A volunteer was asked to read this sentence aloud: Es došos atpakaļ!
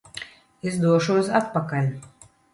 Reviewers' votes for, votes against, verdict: 2, 0, accepted